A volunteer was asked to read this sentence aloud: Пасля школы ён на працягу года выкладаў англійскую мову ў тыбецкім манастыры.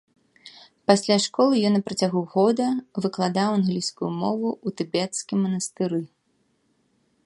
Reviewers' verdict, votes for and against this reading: accepted, 2, 0